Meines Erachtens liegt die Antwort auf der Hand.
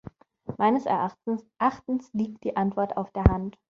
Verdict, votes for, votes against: rejected, 1, 3